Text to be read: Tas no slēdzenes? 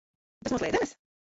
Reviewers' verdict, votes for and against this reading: rejected, 0, 2